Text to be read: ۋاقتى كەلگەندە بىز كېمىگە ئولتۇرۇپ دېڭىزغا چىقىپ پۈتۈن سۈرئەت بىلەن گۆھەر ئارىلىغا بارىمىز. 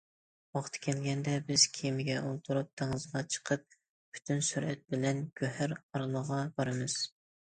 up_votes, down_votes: 2, 0